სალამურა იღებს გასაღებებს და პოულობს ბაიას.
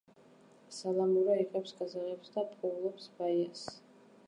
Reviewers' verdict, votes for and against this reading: rejected, 2, 2